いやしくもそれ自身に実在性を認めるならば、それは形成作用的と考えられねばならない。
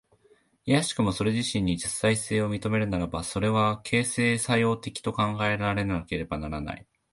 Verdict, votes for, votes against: accepted, 2, 1